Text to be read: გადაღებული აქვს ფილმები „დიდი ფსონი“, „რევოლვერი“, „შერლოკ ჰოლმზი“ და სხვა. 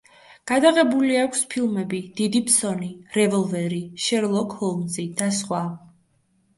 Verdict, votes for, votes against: accepted, 2, 0